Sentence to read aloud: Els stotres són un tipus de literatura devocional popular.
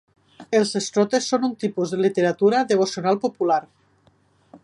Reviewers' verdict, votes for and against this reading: accepted, 5, 0